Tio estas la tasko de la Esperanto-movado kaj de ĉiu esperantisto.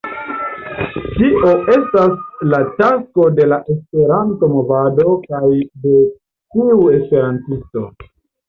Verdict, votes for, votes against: rejected, 0, 2